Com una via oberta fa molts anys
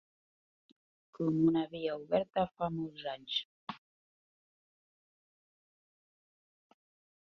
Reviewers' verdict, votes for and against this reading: rejected, 1, 2